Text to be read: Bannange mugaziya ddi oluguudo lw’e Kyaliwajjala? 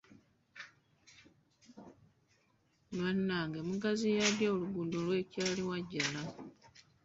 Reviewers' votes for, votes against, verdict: 2, 0, accepted